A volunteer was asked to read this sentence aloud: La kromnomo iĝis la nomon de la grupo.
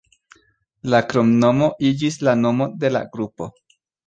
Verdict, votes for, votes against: accepted, 2, 1